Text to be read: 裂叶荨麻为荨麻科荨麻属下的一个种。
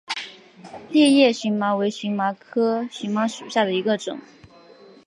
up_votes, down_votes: 3, 0